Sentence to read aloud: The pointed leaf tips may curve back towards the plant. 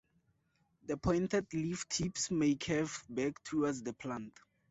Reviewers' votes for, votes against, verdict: 2, 0, accepted